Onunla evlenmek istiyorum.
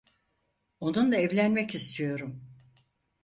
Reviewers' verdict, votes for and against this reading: accepted, 4, 0